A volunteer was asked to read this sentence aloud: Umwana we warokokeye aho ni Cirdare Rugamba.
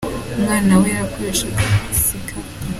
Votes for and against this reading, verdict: 0, 3, rejected